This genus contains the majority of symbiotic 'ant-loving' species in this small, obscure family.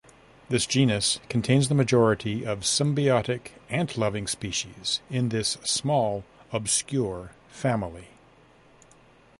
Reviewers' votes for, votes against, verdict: 2, 0, accepted